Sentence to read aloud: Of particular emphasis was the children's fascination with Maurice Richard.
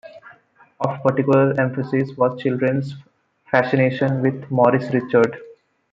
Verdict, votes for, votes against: rejected, 0, 2